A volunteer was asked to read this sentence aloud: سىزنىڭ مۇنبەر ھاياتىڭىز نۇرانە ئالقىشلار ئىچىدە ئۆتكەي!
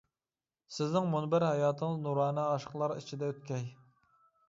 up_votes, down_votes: 0, 2